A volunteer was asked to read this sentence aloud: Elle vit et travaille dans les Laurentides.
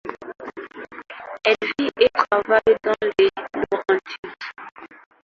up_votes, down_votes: 0, 2